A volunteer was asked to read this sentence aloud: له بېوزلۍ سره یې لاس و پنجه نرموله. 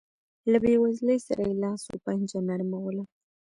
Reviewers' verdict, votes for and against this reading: rejected, 1, 2